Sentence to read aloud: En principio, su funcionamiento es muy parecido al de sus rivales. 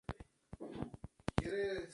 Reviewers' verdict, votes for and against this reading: rejected, 0, 2